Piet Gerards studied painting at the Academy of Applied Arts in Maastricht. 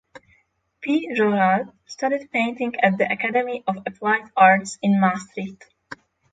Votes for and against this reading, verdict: 6, 3, accepted